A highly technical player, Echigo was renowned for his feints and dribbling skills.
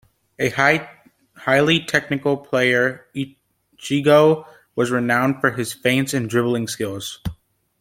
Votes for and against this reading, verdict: 1, 2, rejected